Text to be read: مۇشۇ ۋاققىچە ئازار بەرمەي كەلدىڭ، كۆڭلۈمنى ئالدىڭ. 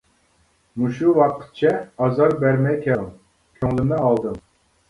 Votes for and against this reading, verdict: 1, 2, rejected